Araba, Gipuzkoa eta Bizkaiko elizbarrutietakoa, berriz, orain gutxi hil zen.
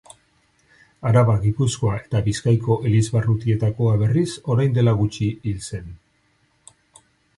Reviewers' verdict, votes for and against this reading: accepted, 4, 2